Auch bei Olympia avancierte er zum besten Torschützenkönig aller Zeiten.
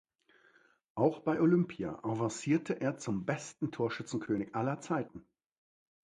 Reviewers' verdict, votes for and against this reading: accepted, 2, 0